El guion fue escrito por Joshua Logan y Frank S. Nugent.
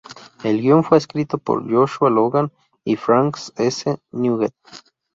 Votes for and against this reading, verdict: 0, 2, rejected